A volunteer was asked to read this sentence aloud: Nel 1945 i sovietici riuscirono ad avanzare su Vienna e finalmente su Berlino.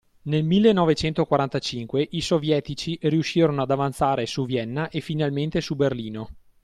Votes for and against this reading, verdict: 0, 2, rejected